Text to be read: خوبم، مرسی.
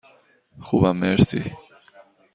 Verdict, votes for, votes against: accepted, 2, 0